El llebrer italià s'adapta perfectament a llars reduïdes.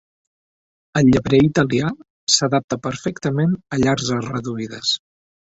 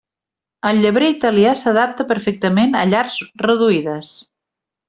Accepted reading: second